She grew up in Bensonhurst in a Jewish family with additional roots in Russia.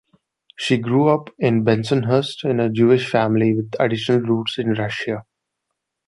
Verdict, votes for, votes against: accepted, 2, 1